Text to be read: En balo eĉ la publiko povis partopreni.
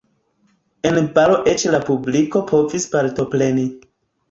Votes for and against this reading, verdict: 2, 1, accepted